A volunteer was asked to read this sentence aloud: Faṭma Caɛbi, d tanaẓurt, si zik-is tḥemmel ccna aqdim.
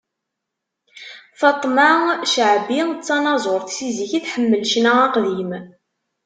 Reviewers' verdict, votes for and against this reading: rejected, 0, 2